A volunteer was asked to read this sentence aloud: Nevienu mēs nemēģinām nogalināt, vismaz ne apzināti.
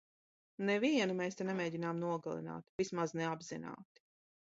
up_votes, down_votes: 0, 3